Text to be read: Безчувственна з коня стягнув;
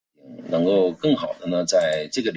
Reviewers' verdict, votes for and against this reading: rejected, 0, 2